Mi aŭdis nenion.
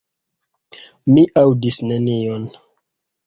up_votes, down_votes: 2, 1